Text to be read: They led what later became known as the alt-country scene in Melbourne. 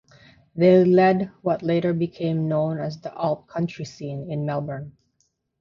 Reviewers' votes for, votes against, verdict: 3, 0, accepted